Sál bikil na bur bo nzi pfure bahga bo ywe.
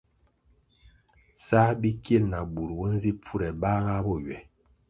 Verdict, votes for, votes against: accepted, 2, 0